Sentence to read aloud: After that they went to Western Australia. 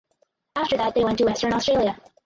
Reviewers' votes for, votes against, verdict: 2, 2, rejected